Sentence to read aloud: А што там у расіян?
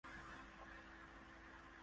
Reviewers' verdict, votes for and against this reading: rejected, 0, 2